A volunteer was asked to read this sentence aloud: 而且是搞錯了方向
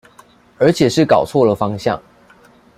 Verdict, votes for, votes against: accepted, 2, 0